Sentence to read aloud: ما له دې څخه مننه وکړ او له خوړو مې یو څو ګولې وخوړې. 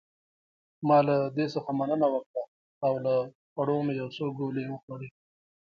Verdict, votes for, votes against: rejected, 0, 2